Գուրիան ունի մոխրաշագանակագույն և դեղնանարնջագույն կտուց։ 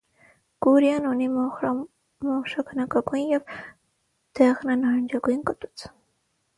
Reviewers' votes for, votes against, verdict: 3, 3, rejected